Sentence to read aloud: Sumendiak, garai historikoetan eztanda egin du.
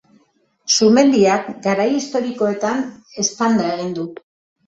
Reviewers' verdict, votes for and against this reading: accepted, 3, 0